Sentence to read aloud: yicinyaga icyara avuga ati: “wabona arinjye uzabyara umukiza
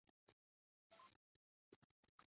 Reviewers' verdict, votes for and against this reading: rejected, 0, 2